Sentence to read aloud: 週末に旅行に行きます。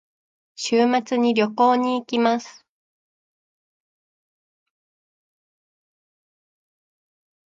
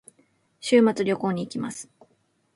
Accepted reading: second